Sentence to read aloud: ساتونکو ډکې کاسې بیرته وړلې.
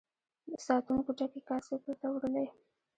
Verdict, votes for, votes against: rejected, 1, 2